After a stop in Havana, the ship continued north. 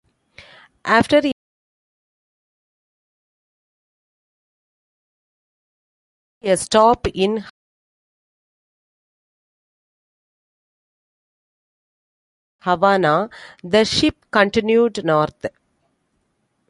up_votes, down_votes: 0, 2